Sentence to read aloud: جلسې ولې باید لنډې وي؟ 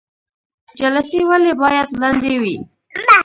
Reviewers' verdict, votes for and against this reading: accepted, 2, 1